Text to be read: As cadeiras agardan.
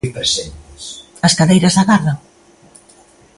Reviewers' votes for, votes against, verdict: 1, 2, rejected